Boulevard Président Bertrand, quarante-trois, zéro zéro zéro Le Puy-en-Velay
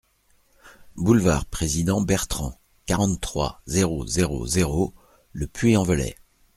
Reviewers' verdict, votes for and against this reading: accepted, 2, 0